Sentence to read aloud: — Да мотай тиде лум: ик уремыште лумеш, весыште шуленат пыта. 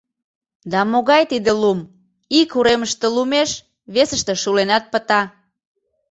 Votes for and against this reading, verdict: 0, 2, rejected